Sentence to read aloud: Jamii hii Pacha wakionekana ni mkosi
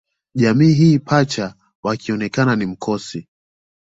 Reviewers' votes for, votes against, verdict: 2, 0, accepted